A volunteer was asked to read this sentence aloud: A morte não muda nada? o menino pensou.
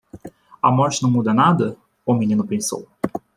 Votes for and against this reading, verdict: 2, 0, accepted